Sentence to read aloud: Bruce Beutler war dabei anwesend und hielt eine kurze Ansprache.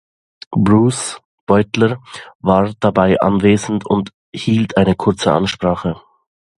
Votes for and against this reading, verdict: 2, 0, accepted